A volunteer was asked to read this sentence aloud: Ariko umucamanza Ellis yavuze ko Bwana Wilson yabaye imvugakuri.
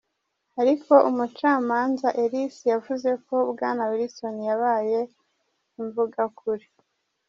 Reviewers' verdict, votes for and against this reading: rejected, 0, 2